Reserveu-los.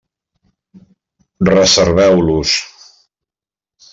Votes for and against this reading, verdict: 1, 2, rejected